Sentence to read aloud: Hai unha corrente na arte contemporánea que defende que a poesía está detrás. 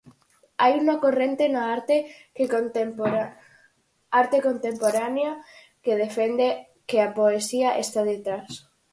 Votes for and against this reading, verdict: 0, 4, rejected